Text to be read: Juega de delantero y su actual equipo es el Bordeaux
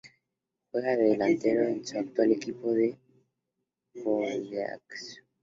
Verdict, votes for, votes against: rejected, 0, 4